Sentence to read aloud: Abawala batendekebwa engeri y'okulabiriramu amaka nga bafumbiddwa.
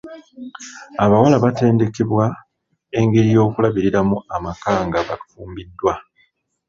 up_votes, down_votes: 2, 0